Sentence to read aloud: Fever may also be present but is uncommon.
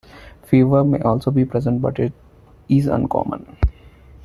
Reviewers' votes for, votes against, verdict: 0, 2, rejected